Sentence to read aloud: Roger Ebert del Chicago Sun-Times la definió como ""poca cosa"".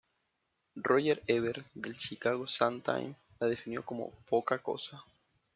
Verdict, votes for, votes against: rejected, 1, 2